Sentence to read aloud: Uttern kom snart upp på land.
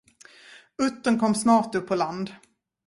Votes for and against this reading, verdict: 2, 0, accepted